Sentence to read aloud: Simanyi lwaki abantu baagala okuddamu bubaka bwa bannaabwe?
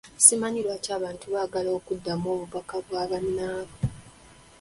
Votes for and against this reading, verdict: 1, 2, rejected